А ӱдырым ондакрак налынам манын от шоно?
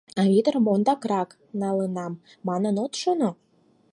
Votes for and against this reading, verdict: 4, 0, accepted